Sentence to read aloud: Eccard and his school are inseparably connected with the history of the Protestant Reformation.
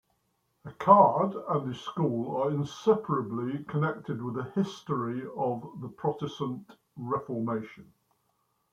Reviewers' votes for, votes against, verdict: 3, 2, accepted